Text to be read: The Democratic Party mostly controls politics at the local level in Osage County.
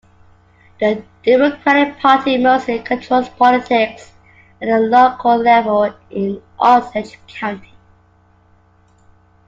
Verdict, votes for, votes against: accepted, 2, 1